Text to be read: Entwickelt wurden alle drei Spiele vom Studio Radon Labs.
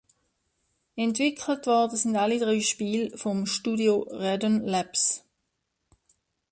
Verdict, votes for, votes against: accepted, 2, 1